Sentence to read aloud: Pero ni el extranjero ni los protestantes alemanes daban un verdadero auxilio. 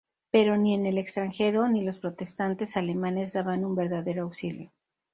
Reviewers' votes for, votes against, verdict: 0, 2, rejected